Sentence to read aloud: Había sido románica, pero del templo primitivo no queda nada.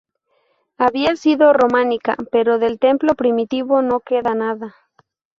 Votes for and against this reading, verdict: 2, 2, rejected